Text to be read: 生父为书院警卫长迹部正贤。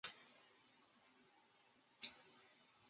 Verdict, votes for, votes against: rejected, 0, 3